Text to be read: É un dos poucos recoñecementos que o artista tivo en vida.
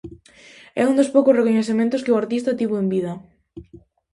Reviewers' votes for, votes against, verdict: 2, 0, accepted